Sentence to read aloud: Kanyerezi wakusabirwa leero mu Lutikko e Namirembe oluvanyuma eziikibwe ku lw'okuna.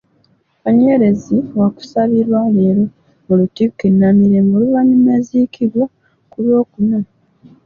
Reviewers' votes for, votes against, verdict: 1, 2, rejected